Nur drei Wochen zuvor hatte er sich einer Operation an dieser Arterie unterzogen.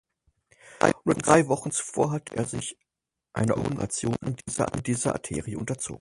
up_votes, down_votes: 0, 6